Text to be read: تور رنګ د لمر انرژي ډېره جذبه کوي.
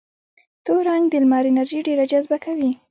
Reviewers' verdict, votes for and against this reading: rejected, 0, 2